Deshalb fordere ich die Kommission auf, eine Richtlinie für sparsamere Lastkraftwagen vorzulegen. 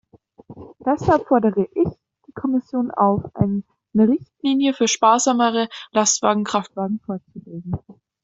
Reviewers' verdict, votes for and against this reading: rejected, 0, 2